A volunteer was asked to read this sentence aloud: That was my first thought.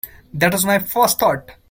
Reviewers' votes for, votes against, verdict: 2, 0, accepted